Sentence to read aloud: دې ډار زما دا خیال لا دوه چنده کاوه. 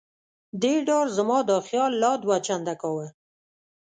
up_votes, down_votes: 2, 0